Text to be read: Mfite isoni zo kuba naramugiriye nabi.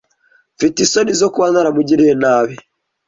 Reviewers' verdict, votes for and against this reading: accepted, 2, 0